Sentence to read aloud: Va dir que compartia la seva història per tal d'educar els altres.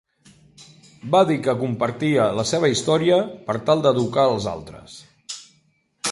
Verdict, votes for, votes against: accepted, 3, 1